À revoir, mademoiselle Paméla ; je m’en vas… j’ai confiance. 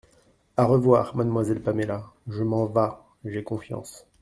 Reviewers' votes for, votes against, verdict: 2, 0, accepted